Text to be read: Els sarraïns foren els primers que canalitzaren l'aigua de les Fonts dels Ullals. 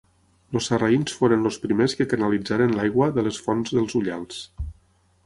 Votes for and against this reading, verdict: 3, 6, rejected